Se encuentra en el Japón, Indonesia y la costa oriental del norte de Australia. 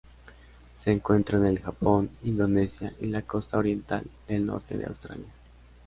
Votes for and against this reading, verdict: 2, 0, accepted